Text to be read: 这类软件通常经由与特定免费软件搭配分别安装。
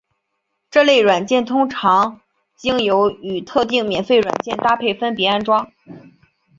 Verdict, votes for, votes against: accepted, 2, 1